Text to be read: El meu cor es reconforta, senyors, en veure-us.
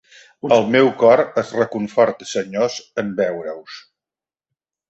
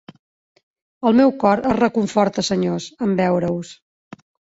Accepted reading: first